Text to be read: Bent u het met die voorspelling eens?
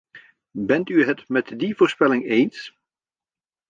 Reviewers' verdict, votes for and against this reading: accepted, 2, 0